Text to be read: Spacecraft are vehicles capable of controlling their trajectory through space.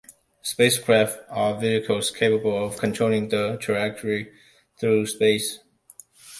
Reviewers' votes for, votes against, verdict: 1, 2, rejected